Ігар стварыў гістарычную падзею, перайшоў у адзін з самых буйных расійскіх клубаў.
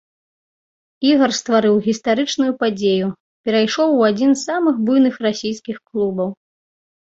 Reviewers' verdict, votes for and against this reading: rejected, 0, 2